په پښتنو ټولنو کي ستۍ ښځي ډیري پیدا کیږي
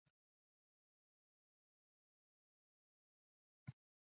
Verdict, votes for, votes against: rejected, 1, 2